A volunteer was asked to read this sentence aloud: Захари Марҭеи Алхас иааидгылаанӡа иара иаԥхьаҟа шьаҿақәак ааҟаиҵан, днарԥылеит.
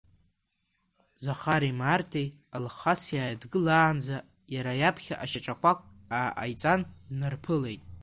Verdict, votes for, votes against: rejected, 1, 2